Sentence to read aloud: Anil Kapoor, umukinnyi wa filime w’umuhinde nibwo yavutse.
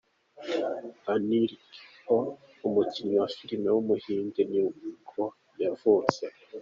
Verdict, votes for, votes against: accepted, 2, 1